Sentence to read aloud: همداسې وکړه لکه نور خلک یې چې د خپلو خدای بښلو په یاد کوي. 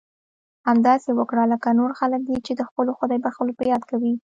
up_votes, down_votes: 2, 0